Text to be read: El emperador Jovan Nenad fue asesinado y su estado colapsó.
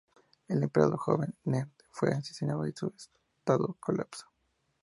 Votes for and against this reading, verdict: 0, 2, rejected